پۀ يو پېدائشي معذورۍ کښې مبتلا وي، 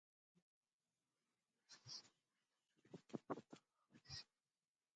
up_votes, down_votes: 1, 2